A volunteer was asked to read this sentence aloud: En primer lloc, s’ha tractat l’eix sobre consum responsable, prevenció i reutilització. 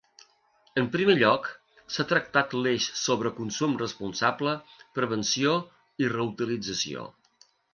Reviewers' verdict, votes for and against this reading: accepted, 2, 0